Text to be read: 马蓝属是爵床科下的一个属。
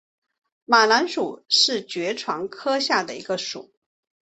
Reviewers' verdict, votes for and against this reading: accepted, 3, 0